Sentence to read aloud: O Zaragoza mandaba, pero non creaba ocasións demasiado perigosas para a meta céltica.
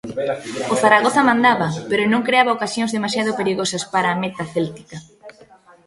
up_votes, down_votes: 2, 1